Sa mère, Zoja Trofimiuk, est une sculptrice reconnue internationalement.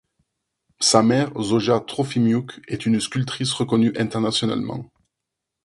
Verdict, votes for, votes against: accepted, 6, 0